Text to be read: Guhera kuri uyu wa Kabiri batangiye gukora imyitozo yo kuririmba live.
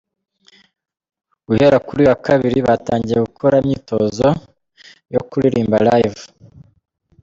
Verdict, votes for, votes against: accepted, 2, 1